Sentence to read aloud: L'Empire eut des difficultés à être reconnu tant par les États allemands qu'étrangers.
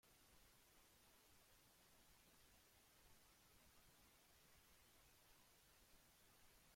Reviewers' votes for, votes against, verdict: 0, 2, rejected